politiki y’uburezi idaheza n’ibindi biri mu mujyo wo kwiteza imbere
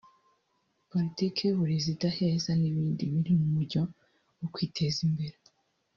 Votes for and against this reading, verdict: 1, 2, rejected